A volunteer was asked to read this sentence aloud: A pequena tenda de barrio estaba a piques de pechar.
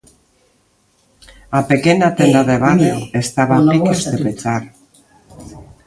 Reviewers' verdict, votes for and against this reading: rejected, 0, 2